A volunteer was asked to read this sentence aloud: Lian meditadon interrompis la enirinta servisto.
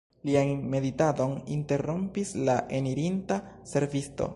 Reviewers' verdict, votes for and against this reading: rejected, 1, 4